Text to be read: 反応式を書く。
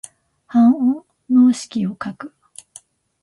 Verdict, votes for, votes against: rejected, 0, 2